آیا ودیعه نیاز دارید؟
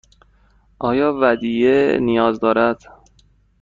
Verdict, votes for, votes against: rejected, 1, 2